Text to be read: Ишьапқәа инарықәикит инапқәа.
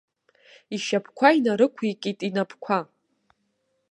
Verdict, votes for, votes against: accepted, 2, 0